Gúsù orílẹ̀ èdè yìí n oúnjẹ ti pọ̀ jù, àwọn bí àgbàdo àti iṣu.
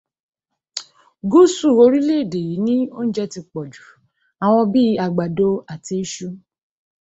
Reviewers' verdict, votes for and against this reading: rejected, 1, 2